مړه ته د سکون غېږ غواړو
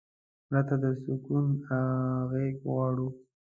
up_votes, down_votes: 0, 2